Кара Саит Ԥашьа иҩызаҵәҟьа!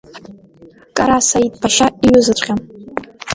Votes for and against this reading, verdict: 2, 0, accepted